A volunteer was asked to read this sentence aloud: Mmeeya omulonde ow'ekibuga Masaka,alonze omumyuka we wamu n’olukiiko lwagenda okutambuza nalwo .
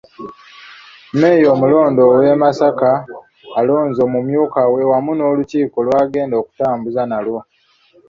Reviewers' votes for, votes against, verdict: 1, 2, rejected